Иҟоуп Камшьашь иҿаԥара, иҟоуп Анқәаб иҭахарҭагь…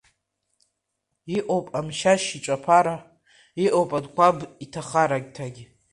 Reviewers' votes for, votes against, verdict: 1, 2, rejected